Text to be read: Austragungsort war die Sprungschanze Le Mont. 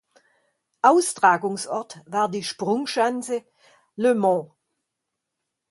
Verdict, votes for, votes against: accepted, 2, 0